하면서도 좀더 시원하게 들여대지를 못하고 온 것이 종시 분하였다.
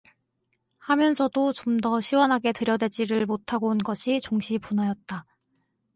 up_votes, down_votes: 4, 0